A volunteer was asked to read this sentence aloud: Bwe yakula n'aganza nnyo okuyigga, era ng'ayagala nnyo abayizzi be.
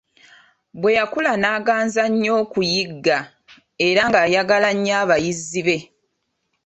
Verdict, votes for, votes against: accepted, 2, 0